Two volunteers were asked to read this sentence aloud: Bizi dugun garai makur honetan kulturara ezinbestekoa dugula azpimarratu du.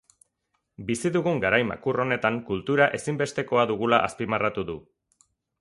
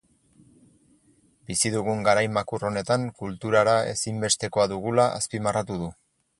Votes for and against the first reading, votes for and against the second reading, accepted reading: 0, 4, 4, 0, second